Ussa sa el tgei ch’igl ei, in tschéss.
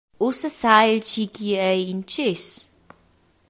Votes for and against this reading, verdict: 2, 1, accepted